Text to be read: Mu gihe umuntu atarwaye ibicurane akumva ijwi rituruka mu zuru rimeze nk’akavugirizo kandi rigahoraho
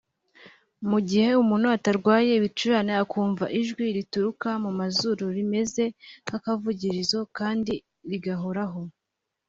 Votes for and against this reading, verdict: 2, 0, accepted